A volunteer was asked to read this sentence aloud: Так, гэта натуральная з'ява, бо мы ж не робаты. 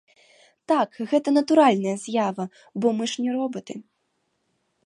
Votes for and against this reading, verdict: 0, 3, rejected